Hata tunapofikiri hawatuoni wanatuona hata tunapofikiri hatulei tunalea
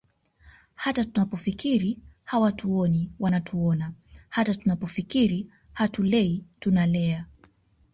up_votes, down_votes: 2, 0